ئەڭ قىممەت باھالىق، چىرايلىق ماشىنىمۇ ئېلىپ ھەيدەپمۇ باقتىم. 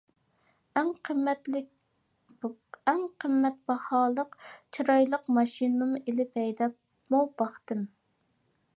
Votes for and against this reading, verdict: 0, 2, rejected